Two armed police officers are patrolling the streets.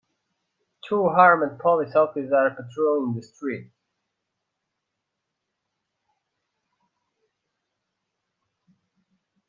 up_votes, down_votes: 0, 2